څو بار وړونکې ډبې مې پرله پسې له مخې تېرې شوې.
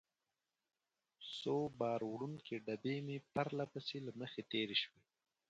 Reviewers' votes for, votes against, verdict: 2, 4, rejected